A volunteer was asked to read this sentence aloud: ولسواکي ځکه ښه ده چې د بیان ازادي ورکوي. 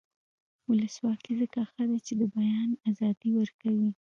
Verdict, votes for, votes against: rejected, 1, 2